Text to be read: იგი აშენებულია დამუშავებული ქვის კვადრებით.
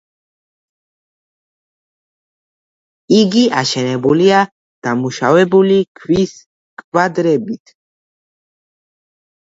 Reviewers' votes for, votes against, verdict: 2, 1, accepted